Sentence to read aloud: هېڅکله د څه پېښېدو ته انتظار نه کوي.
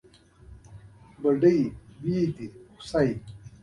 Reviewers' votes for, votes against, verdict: 0, 2, rejected